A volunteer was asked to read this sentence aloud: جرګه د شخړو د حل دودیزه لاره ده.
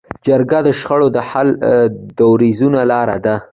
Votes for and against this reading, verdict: 2, 0, accepted